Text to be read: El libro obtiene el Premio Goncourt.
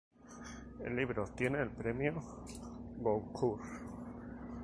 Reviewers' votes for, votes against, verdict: 2, 2, rejected